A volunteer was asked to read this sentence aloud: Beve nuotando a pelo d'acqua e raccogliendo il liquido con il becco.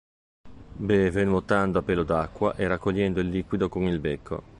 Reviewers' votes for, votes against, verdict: 2, 1, accepted